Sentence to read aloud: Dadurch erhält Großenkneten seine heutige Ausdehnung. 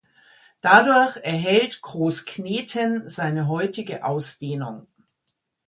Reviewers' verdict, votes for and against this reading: rejected, 0, 2